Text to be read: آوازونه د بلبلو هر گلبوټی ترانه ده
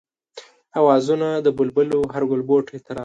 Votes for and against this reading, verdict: 2, 0, accepted